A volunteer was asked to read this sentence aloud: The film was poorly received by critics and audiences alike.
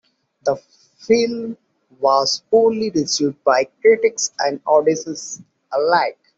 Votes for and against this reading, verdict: 2, 1, accepted